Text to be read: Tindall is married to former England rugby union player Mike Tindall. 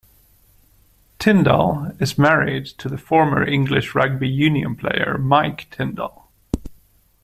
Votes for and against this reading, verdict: 1, 2, rejected